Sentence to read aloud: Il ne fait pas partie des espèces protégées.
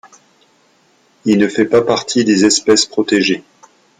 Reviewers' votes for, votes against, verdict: 2, 0, accepted